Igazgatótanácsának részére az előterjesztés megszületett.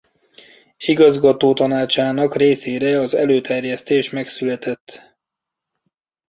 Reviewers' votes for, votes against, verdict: 1, 2, rejected